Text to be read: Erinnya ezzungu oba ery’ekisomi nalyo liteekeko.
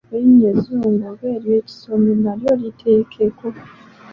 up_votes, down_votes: 1, 2